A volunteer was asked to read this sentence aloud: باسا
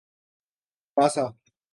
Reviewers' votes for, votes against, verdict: 3, 0, accepted